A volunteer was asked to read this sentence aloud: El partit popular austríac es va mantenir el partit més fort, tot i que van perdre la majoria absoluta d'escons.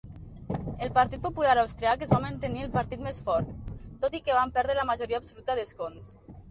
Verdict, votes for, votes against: accepted, 2, 0